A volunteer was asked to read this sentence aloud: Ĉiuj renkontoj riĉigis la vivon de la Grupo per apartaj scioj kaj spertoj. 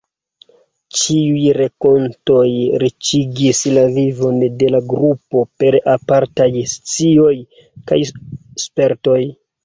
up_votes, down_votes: 0, 2